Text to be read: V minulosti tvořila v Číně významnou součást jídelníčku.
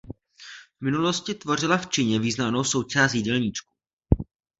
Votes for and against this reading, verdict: 2, 0, accepted